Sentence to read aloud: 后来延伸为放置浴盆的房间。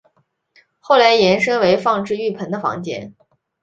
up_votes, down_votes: 2, 0